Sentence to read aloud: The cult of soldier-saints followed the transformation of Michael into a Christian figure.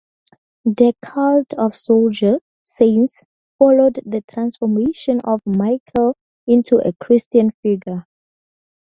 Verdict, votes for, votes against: rejected, 0, 2